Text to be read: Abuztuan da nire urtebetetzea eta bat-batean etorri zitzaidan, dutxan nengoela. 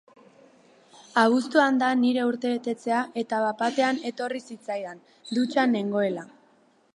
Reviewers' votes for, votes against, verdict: 0, 2, rejected